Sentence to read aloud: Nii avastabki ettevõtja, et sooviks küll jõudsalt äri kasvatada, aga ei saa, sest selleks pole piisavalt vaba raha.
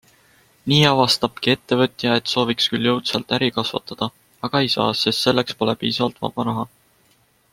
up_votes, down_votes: 2, 0